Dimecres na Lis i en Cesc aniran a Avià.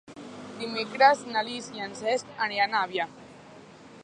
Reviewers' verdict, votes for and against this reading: accepted, 4, 0